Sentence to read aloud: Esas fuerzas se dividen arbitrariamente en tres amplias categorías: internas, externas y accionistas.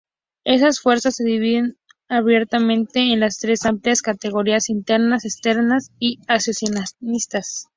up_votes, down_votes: 0, 2